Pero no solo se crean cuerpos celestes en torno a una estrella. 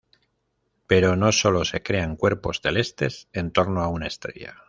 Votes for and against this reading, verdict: 2, 0, accepted